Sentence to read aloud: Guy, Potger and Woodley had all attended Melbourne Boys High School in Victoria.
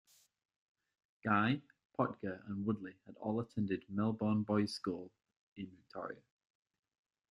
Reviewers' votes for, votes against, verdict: 0, 2, rejected